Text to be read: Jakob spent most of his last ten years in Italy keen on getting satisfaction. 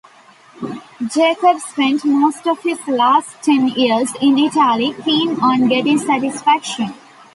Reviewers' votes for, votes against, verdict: 2, 0, accepted